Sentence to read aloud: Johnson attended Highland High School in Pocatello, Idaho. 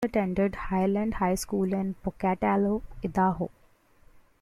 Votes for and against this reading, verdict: 0, 2, rejected